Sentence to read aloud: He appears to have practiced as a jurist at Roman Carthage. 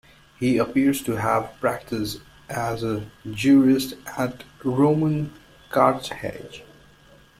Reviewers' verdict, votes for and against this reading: accepted, 2, 1